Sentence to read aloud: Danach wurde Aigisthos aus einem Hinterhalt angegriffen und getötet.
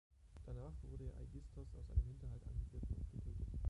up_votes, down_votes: 0, 2